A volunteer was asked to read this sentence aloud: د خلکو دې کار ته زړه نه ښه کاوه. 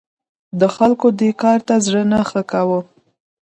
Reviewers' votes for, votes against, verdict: 2, 0, accepted